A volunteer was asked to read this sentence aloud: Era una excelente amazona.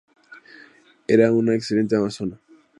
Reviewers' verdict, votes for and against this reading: accepted, 2, 0